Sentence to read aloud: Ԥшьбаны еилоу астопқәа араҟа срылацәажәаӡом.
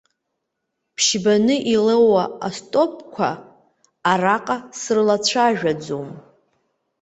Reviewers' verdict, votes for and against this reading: rejected, 1, 2